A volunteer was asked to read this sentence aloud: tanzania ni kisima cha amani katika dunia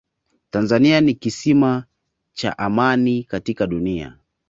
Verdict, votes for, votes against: accepted, 2, 0